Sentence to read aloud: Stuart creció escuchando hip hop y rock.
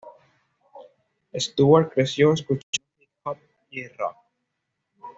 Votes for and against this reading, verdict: 2, 1, accepted